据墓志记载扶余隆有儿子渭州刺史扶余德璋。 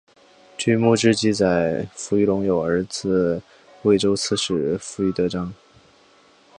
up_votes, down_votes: 3, 0